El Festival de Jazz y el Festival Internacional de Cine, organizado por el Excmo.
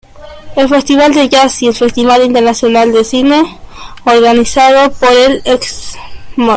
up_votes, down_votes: 2, 0